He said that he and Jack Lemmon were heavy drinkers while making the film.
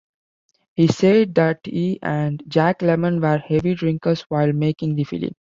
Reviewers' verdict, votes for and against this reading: rejected, 0, 2